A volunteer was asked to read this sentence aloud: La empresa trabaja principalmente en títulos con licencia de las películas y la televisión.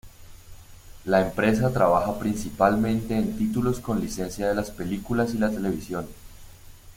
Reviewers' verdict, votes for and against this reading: accepted, 2, 0